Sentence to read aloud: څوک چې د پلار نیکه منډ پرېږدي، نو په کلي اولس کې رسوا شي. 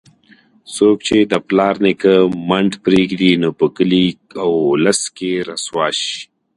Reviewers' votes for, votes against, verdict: 2, 0, accepted